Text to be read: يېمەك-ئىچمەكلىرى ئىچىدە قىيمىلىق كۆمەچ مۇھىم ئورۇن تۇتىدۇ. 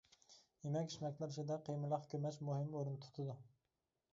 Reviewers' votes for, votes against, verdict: 2, 0, accepted